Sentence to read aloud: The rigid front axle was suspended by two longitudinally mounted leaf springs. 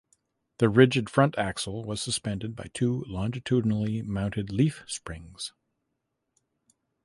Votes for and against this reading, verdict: 2, 0, accepted